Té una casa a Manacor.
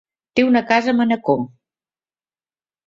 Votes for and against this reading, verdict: 3, 0, accepted